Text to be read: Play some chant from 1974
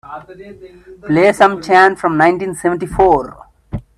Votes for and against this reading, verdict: 0, 2, rejected